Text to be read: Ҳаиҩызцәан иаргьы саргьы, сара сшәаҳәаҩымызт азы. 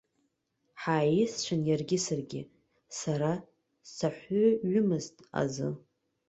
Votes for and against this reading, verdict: 0, 2, rejected